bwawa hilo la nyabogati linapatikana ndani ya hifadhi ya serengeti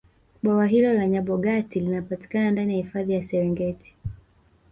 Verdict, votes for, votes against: accepted, 2, 0